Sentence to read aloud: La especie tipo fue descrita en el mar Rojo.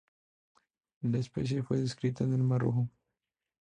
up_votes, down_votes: 2, 0